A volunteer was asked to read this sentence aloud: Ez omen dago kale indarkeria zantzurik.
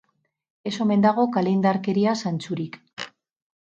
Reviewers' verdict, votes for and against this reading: rejected, 0, 2